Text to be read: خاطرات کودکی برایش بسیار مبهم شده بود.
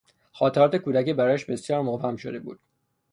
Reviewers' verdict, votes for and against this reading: accepted, 6, 0